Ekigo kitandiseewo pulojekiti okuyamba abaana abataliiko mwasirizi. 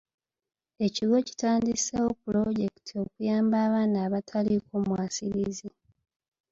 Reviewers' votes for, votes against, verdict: 2, 0, accepted